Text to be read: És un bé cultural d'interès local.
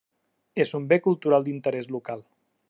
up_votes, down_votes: 3, 1